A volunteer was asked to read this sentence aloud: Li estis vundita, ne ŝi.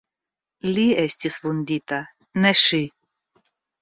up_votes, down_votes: 2, 0